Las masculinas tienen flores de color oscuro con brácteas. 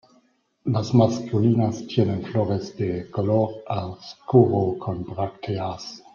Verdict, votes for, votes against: rejected, 1, 2